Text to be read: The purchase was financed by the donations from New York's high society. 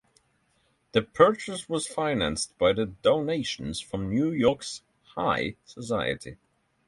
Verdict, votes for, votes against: accepted, 3, 0